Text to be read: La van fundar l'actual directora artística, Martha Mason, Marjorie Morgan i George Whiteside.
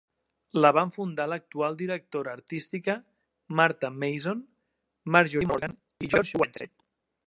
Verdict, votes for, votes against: rejected, 0, 2